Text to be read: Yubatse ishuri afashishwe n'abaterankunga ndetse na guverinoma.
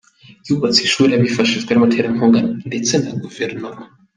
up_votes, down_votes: 1, 2